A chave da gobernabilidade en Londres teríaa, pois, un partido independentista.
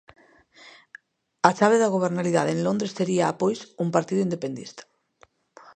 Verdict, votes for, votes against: rejected, 0, 2